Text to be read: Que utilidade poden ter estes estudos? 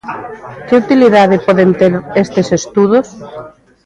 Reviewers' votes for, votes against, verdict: 2, 0, accepted